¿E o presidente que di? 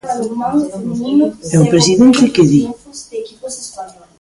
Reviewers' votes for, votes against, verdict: 0, 2, rejected